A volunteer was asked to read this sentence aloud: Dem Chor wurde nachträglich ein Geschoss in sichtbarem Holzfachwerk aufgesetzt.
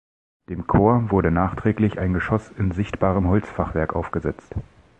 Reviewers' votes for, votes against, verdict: 2, 0, accepted